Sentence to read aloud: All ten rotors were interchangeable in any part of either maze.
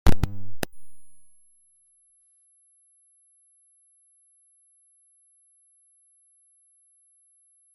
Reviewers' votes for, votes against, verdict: 0, 2, rejected